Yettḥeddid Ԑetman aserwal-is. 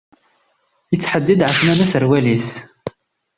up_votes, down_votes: 0, 2